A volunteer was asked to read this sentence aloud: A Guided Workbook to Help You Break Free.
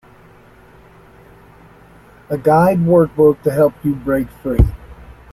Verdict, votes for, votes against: rejected, 0, 2